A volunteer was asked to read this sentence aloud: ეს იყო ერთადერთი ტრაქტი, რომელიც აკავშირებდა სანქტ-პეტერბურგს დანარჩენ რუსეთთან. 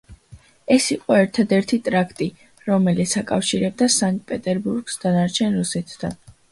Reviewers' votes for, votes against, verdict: 2, 0, accepted